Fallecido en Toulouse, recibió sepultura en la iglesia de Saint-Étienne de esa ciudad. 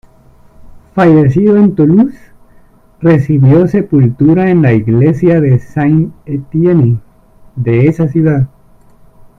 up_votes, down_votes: 1, 2